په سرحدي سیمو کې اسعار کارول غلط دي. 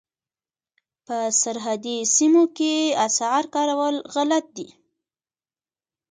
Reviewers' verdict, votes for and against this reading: rejected, 2, 3